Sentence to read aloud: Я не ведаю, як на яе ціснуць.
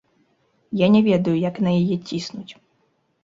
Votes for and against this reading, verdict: 2, 0, accepted